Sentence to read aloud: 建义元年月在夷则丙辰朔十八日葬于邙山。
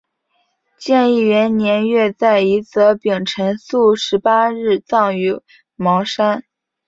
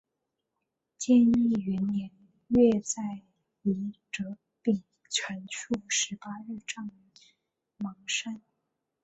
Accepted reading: first